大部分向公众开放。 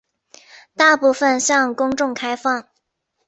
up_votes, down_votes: 4, 0